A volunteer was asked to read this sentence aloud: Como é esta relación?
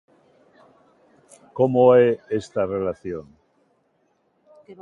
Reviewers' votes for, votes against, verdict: 2, 0, accepted